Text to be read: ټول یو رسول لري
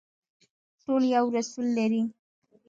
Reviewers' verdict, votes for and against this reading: rejected, 1, 2